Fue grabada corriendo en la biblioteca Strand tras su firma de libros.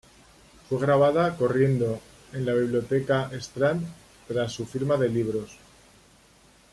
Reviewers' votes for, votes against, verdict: 2, 0, accepted